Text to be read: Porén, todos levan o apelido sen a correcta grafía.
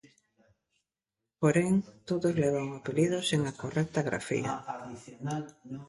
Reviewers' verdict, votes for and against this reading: rejected, 0, 2